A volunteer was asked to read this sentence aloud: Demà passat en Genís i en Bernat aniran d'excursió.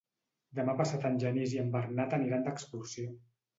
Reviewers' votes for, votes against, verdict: 2, 0, accepted